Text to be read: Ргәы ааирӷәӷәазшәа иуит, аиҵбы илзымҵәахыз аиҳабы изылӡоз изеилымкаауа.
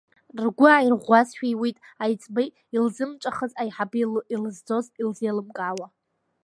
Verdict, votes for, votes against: rejected, 1, 2